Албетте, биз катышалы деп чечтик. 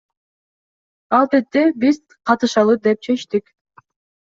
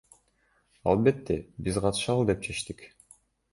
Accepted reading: first